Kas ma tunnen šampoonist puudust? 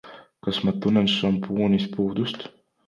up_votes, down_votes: 2, 0